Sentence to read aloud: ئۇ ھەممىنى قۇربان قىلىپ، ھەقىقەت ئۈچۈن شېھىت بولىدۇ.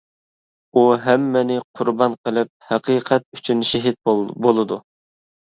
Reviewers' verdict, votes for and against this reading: rejected, 1, 2